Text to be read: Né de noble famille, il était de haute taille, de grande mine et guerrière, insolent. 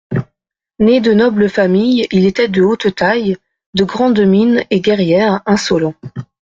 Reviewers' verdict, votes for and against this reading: accepted, 2, 0